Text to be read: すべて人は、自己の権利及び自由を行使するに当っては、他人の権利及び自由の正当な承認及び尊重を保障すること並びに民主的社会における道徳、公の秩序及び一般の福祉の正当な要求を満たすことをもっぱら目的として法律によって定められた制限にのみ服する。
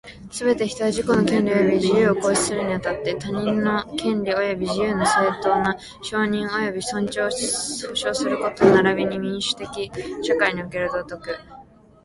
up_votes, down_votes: 0, 2